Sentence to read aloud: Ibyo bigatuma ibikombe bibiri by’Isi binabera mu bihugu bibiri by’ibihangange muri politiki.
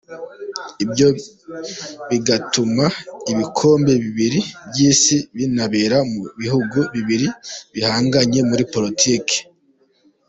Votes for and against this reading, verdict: 1, 2, rejected